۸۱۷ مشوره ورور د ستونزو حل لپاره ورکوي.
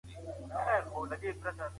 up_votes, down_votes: 0, 2